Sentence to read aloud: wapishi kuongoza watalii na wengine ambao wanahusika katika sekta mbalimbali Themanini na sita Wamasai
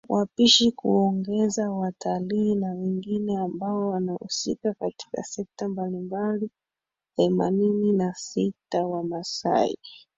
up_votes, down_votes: 0, 2